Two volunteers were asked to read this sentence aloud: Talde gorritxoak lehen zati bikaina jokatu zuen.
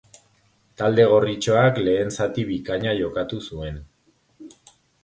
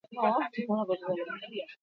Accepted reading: first